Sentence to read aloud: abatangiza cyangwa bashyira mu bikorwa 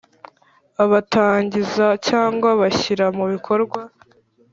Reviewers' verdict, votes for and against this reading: accepted, 2, 0